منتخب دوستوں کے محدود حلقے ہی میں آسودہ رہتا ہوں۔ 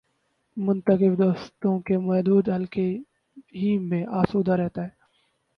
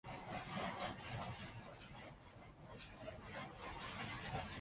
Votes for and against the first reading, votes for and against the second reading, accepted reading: 2, 0, 0, 2, first